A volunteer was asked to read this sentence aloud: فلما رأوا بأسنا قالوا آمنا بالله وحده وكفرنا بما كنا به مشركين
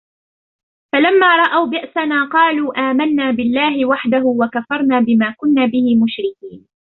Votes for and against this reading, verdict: 1, 2, rejected